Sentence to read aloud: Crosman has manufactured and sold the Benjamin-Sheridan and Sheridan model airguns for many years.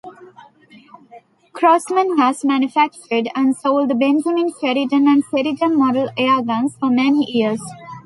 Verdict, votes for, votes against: accepted, 2, 0